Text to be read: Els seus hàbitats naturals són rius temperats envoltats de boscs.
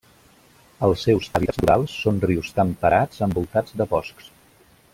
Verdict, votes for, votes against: rejected, 0, 2